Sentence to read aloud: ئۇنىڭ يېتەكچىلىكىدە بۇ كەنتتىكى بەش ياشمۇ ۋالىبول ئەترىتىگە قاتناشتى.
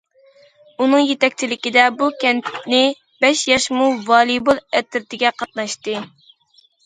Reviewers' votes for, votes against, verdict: 0, 2, rejected